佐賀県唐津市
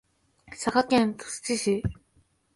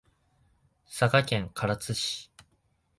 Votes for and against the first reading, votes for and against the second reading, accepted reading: 0, 2, 2, 0, second